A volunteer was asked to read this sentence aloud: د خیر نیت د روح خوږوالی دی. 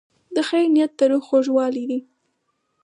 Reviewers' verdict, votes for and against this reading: accepted, 4, 2